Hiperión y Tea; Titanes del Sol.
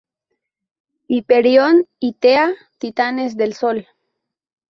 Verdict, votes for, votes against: rejected, 0, 2